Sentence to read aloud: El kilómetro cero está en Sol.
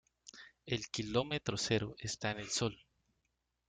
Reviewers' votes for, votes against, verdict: 1, 2, rejected